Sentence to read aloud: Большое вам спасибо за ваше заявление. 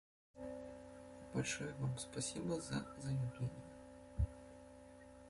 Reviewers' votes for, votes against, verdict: 1, 2, rejected